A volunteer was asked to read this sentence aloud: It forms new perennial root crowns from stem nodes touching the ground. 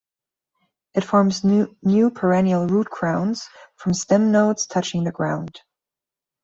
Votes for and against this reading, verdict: 0, 2, rejected